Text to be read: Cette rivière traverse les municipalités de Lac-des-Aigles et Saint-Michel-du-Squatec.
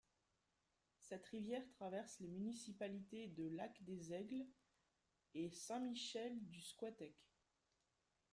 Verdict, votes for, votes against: accepted, 2, 1